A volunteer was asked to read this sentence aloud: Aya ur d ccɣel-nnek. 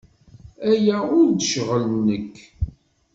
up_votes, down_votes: 1, 2